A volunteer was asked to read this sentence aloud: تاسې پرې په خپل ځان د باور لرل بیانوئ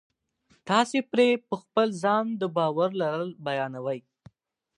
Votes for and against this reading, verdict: 4, 0, accepted